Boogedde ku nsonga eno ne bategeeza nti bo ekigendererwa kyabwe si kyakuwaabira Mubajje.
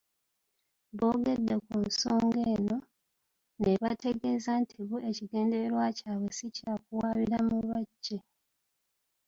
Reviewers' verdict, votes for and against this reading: rejected, 1, 2